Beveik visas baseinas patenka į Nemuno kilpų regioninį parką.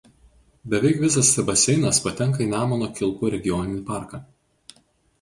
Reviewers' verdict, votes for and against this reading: rejected, 0, 4